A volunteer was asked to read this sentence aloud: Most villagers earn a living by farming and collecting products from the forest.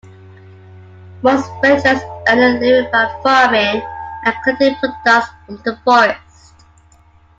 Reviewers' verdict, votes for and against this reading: rejected, 0, 2